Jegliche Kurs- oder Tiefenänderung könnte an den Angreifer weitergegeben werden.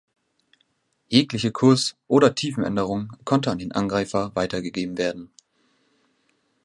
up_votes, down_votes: 0, 2